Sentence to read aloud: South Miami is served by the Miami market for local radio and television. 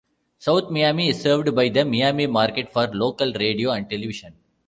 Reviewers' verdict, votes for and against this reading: rejected, 0, 2